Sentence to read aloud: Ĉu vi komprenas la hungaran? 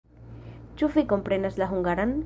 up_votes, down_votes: 1, 2